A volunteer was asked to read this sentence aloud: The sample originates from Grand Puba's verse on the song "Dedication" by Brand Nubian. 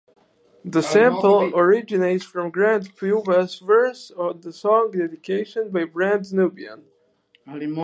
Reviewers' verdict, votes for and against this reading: rejected, 2, 2